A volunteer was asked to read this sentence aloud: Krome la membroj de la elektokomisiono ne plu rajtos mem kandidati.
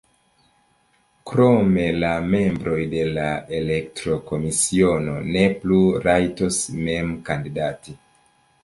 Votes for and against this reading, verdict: 0, 2, rejected